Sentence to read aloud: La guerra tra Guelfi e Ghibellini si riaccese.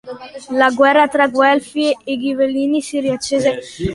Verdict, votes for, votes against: accepted, 2, 0